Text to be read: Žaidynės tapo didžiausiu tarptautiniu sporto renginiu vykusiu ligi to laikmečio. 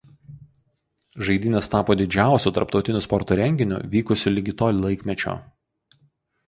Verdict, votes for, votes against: rejected, 0, 2